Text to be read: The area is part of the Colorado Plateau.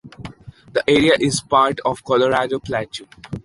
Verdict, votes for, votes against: accepted, 3, 2